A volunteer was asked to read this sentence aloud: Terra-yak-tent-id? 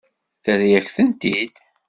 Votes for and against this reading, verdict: 2, 0, accepted